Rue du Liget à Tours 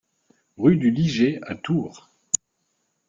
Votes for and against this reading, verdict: 2, 0, accepted